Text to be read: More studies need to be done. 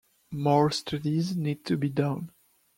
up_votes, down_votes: 1, 2